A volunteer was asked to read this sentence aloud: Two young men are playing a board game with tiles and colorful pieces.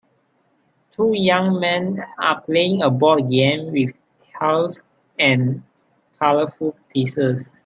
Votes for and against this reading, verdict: 2, 0, accepted